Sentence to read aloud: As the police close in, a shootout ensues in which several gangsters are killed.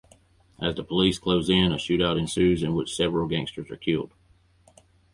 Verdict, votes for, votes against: rejected, 2, 2